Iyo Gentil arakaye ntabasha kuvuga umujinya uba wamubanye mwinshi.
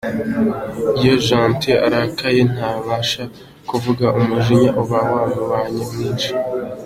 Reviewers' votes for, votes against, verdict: 2, 0, accepted